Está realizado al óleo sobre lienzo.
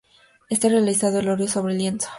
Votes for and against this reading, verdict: 4, 0, accepted